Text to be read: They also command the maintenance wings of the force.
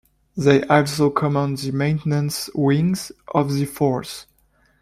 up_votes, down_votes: 2, 0